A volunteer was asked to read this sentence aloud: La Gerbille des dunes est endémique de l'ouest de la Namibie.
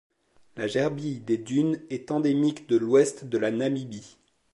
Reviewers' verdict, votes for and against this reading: accepted, 2, 0